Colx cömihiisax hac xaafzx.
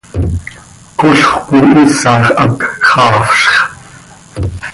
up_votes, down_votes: 2, 0